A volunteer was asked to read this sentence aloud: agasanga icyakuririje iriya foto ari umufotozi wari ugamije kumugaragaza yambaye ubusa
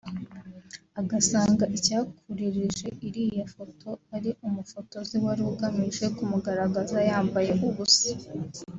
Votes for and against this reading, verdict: 4, 0, accepted